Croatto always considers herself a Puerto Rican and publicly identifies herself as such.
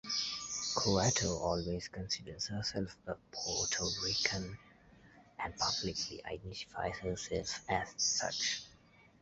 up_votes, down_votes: 1, 2